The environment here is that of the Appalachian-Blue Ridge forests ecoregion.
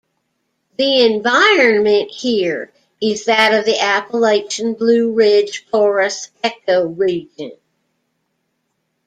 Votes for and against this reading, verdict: 1, 2, rejected